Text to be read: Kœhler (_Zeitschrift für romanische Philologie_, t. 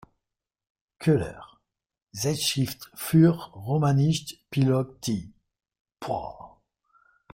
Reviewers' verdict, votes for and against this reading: rejected, 1, 2